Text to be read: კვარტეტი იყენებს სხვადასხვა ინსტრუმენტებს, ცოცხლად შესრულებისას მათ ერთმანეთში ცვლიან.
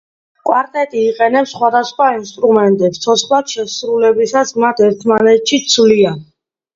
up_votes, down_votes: 2, 0